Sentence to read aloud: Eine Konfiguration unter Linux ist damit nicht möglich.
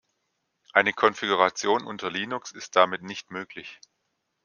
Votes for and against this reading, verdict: 2, 0, accepted